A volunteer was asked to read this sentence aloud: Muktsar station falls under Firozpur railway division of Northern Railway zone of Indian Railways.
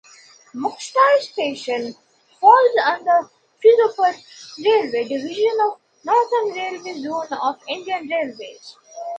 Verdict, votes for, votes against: rejected, 1, 2